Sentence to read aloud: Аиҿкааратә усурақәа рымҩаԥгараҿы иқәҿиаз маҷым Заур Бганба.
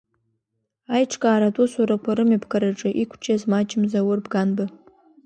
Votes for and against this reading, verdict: 2, 0, accepted